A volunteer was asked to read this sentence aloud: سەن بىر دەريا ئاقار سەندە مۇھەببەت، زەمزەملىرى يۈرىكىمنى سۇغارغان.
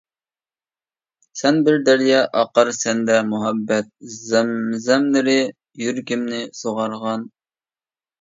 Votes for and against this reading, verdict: 2, 0, accepted